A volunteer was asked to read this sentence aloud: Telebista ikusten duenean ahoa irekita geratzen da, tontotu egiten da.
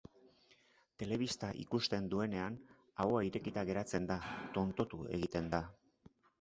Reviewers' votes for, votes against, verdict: 2, 0, accepted